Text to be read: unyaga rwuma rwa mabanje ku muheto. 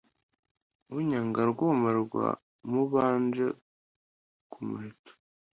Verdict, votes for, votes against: rejected, 1, 2